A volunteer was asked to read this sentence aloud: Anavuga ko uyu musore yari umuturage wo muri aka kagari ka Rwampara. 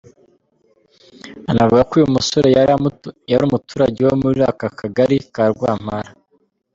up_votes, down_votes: 1, 2